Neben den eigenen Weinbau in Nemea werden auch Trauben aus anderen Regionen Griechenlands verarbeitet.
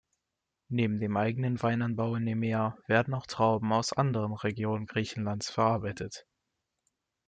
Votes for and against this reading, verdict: 1, 2, rejected